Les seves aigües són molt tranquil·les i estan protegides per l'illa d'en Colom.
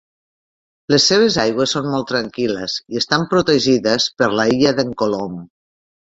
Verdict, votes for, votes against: rejected, 1, 2